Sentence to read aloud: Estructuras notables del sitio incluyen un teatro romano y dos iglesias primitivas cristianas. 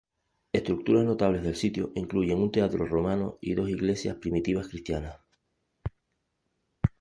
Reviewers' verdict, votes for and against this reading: accepted, 2, 0